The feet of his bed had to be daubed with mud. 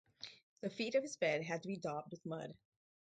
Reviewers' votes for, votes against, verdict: 2, 0, accepted